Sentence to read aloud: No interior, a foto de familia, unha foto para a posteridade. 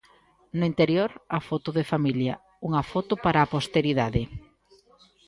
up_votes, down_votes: 1, 2